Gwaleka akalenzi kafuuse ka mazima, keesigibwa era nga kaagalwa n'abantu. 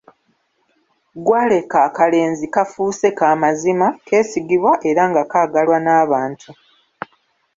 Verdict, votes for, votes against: rejected, 0, 2